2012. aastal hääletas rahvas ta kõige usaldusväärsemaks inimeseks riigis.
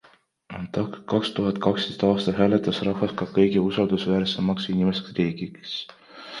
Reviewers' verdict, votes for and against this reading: rejected, 0, 2